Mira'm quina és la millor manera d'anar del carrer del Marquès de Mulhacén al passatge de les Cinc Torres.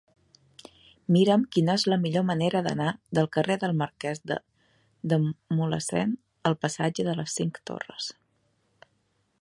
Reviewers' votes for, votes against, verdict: 0, 2, rejected